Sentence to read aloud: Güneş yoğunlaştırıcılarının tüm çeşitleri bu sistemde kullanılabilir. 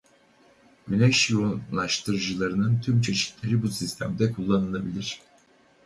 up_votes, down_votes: 2, 2